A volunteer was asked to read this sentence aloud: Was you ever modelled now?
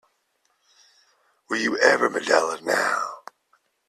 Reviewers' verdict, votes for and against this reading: rejected, 1, 2